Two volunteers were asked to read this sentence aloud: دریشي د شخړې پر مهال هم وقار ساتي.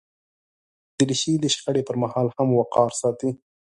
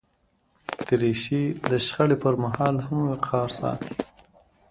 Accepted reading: first